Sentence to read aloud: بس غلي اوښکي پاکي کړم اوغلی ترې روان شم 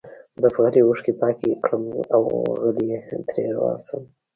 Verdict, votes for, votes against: rejected, 1, 2